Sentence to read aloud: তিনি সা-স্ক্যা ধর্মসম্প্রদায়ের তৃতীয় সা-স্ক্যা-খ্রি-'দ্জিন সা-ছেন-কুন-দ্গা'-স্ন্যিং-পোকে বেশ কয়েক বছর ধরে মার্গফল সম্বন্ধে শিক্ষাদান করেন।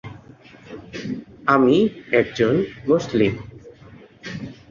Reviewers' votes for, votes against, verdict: 1, 13, rejected